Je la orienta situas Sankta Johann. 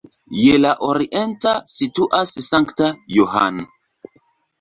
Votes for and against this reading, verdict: 3, 0, accepted